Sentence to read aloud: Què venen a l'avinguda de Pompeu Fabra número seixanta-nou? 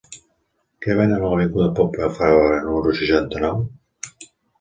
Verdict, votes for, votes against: accepted, 2, 0